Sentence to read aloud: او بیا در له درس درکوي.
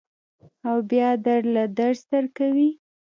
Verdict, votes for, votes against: accepted, 2, 0